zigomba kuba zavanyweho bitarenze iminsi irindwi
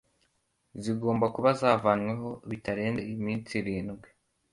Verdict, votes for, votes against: accepted, 2, 0